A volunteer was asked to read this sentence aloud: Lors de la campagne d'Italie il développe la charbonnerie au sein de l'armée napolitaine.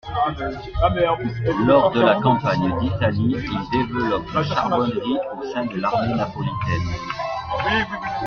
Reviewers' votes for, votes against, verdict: 0, 2, rejected